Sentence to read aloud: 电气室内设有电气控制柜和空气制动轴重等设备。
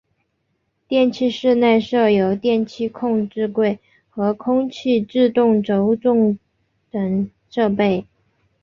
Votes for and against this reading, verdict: 2, 0, accepted